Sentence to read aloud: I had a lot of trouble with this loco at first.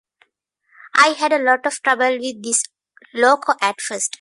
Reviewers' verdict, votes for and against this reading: accepted, 2, 0